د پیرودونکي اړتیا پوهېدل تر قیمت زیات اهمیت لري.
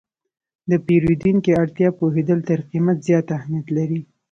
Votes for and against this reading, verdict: 2, 1, accepted